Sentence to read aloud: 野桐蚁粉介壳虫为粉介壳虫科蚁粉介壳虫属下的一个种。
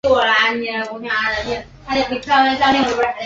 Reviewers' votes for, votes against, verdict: 1, 3, rejected